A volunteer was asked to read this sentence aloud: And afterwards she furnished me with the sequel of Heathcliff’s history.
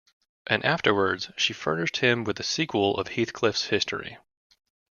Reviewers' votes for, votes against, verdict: 0, 2, rejected